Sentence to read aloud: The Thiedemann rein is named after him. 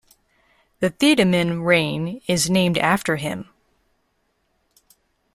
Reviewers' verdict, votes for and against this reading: accepted, 2, 0